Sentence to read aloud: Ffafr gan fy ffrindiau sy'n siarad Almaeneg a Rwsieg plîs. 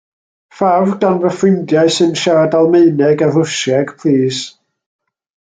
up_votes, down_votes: 2, 0